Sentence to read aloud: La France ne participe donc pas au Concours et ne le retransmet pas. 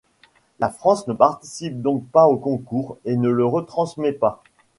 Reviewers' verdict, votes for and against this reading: accepted, 2, 0